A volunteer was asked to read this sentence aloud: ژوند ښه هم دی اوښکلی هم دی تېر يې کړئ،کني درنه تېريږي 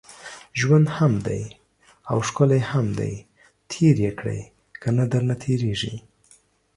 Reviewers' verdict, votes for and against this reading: rejected, 1, 2